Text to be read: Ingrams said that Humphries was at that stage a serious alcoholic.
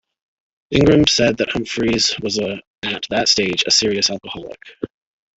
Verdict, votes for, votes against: rejected, 2, 3